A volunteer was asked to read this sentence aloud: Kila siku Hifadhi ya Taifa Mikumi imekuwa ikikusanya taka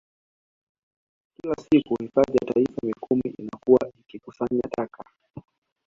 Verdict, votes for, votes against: accepted, 2, 1